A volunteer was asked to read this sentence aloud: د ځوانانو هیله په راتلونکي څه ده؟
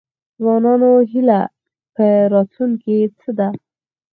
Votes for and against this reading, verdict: 4, 2, accepted